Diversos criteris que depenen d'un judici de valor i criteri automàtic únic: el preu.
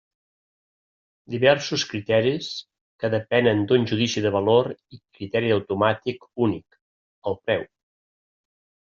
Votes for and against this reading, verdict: 0, 2, rejected